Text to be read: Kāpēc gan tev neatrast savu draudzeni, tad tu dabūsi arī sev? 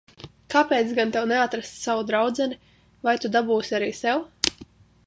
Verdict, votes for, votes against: rejected, 0, 2